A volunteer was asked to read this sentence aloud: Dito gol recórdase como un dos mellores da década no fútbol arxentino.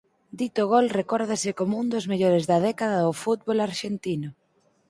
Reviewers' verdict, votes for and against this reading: accepted, 4, 2